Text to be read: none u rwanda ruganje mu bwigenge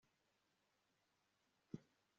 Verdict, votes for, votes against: rejected, 2, 3